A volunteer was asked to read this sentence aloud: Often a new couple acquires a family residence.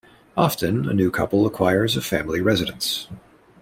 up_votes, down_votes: 2, 0